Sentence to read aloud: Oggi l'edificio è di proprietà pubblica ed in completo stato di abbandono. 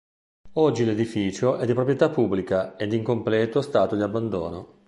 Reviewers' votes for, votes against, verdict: 2, 0, accepted